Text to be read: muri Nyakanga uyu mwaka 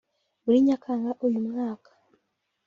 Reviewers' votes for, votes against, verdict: 2, 0, accepted